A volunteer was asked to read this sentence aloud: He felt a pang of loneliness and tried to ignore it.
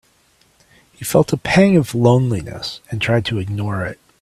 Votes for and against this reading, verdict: 3, 0, accepted